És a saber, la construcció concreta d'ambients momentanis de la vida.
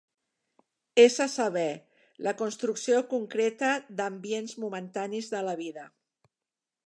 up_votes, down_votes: 3, 0